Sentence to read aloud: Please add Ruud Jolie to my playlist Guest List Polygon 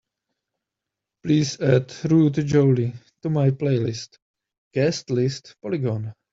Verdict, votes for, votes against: accepted, 2, 0